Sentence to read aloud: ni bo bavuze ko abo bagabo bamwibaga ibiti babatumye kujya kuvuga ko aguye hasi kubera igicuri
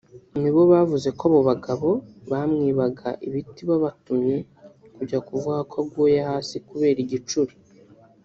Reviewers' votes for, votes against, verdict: 0, 2, rejected